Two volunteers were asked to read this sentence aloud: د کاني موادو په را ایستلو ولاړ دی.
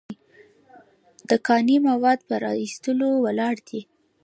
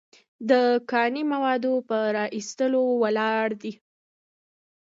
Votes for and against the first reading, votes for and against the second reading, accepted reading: 1, 2, 2, 0, second